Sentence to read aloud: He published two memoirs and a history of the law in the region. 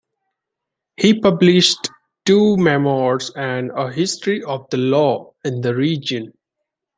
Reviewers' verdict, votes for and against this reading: accepted, 2, 0